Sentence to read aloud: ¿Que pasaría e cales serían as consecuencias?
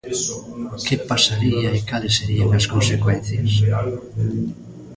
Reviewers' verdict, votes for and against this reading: rejected, 1, 2